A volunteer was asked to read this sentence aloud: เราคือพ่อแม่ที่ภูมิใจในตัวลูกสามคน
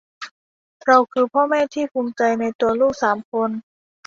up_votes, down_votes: 2, 0